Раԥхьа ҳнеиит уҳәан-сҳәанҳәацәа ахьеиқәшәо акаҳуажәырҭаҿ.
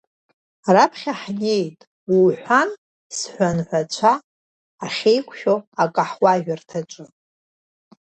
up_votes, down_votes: 2, 0